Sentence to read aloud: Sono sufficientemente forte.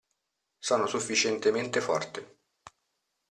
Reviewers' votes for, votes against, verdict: 2, 0, accepted